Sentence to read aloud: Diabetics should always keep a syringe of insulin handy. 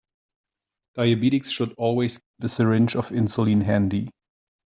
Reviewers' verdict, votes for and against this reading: rejected, 0, 2